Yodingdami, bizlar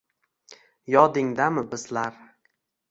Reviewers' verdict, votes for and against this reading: accepted, 2, 0